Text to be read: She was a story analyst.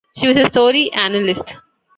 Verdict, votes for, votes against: accepted, 2, 0